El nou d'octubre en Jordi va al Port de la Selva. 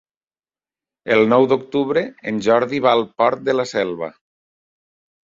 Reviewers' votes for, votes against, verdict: 3, 0, accepted